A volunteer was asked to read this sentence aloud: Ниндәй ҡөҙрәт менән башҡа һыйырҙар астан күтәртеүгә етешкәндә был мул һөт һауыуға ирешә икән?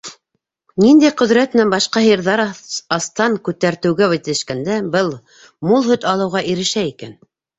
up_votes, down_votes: 0, 2